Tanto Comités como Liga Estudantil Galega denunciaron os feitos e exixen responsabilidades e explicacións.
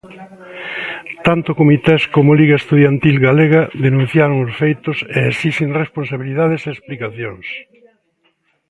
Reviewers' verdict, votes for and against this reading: rejected, 0, 2